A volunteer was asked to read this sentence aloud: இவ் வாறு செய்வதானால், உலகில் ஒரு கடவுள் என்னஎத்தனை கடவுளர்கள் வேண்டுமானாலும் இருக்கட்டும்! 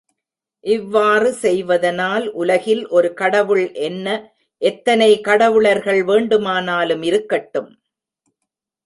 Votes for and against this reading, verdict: 0, 2, rejected